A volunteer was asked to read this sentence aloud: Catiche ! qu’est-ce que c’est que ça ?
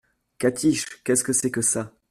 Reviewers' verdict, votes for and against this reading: accepted, 2, 0